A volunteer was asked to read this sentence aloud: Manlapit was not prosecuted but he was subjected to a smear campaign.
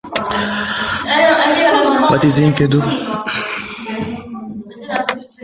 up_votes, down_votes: 0, 2